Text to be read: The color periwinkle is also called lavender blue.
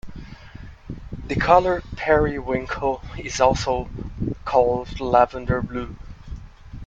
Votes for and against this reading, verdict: 2, 0, accepted